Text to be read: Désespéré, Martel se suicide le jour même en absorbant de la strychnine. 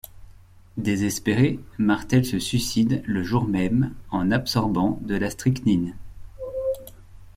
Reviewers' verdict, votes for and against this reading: accepted, 2, 0